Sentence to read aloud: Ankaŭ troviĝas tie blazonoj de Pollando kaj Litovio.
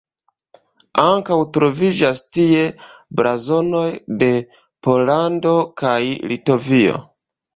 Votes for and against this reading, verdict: 2, 1, accepted